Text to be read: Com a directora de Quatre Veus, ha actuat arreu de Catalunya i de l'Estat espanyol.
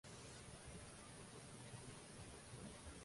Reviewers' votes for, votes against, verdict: 0, 2, rejected